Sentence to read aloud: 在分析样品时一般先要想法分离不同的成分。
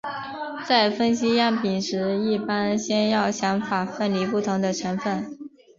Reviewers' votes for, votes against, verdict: 2, 0, accepted